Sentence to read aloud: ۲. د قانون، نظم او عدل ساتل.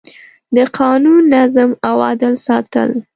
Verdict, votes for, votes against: rejected, 0, 2